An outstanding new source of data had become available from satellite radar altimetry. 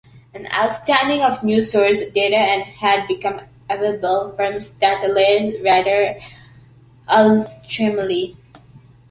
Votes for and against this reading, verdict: 1, 2, rejected